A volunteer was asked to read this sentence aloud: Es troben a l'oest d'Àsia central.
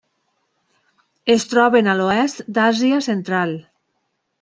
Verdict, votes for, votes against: accepted, 3, 0